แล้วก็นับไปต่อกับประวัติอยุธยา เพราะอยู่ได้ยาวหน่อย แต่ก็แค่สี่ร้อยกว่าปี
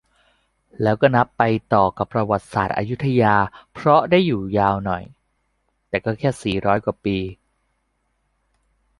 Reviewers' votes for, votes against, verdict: 1, 2, rejected